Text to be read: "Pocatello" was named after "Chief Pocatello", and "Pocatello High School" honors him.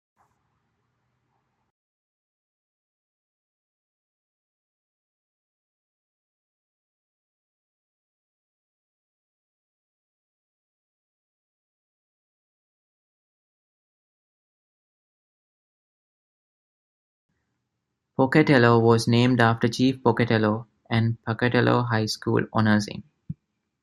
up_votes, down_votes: 0, 2